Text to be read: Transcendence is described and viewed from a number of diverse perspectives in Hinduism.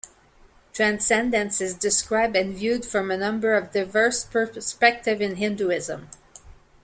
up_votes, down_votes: 2, 1